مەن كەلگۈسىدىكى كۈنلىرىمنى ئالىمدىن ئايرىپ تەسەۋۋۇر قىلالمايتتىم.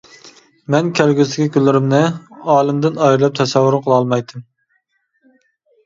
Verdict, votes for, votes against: accepted, 2, 0